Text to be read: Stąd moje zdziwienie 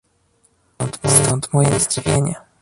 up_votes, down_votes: 0, 2